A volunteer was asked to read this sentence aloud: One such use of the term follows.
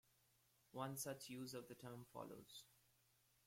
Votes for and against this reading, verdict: 1, 2, rejected